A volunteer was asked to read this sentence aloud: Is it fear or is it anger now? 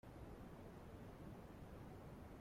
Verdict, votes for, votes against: rejected, 0, 2